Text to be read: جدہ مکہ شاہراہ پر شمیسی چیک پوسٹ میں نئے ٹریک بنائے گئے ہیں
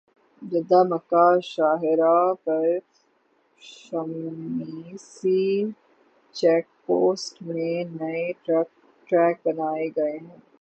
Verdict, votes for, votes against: rejected, 0, 3